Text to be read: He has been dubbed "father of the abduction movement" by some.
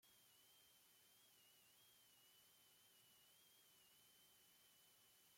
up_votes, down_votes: 0, 2